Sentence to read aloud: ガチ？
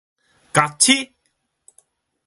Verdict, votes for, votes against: rejected, 3, 3